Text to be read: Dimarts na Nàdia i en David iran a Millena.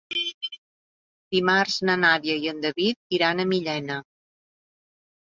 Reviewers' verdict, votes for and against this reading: rejected, 1, 2